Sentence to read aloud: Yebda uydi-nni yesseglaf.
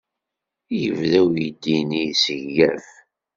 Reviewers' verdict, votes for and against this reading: accepted, 2, 0